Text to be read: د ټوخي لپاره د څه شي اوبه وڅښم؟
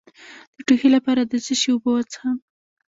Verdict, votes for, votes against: accepted, 2, 1